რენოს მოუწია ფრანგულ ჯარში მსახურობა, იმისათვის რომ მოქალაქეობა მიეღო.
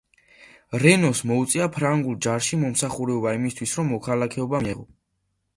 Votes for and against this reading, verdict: 0, 2, rejected